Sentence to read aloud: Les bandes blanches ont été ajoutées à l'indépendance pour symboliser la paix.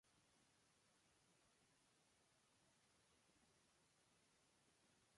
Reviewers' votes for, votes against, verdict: 0, 2, rejected